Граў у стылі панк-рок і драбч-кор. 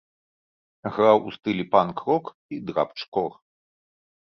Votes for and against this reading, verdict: 2, 0, accepted